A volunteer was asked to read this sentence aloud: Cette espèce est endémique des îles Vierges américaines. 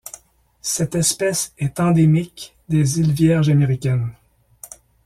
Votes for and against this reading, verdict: 2, 0, accepted